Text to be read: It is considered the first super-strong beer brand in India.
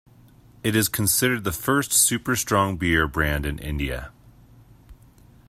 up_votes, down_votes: 2, 0